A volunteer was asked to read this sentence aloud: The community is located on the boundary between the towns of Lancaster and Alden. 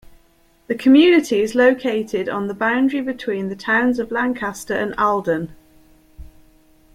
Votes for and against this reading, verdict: 2, 0, accepted